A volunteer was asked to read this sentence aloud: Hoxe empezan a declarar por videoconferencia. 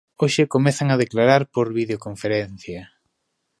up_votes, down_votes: 0, 2